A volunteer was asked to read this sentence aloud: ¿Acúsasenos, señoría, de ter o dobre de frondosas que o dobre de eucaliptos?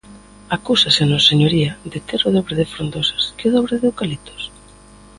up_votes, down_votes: 2, 0